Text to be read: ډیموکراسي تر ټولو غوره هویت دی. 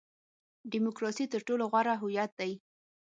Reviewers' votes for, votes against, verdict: 6, 0, accepted